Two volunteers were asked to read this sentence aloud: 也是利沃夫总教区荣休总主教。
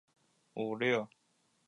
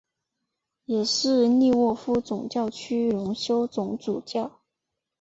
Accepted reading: second